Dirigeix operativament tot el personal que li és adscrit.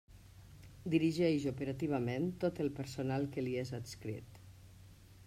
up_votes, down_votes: 2, 0